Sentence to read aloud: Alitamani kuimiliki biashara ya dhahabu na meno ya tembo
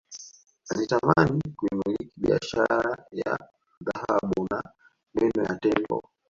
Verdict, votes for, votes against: rejected, 1, 2